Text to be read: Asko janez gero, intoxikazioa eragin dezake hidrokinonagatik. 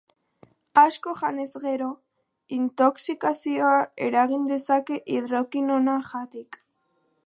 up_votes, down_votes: 6, 8